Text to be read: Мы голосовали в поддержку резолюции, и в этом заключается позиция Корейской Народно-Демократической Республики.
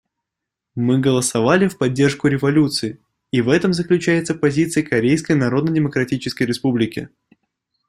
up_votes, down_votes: 1, 2